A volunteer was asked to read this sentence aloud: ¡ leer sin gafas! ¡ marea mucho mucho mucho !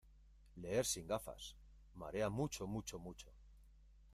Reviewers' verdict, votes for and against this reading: rejected, 1, 2